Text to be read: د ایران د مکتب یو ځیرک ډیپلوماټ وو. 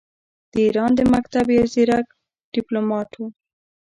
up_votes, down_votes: 2, 0